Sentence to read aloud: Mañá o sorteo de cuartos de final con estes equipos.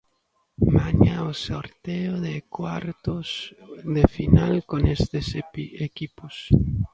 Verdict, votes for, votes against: rejected, 0, 2